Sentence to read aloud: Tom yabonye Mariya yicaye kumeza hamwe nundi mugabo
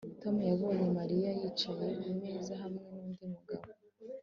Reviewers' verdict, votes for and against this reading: accepted, 3, 0